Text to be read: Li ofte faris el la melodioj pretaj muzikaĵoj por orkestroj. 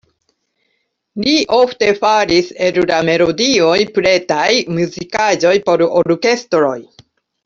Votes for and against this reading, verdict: 0, 2, rejected